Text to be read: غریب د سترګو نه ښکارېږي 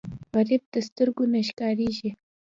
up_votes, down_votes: 3, 0